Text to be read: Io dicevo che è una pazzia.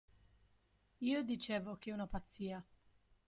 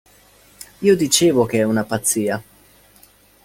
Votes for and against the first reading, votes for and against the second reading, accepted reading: 1, 2, 2, 0, second